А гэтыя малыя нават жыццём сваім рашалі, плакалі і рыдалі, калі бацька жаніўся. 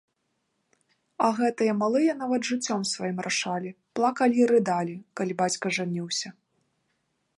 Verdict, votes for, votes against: accepted, 2, 0